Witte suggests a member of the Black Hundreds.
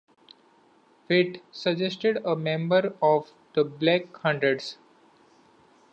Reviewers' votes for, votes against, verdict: 0, 2, rejected